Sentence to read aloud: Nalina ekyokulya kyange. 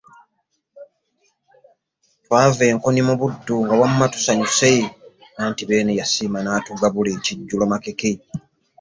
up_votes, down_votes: 2, 3